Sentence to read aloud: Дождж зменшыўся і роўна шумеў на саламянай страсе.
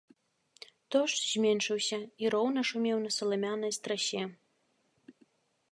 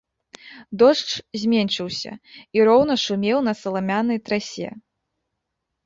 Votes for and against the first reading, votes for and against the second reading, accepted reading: 2, 0, 0, 2, first